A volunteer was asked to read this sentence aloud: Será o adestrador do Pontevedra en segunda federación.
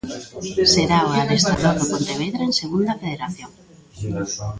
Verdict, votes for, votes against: rejected, 1, 2